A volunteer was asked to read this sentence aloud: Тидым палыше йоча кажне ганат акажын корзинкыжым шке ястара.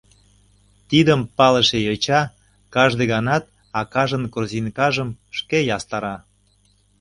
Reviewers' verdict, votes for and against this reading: rejected, 1, 2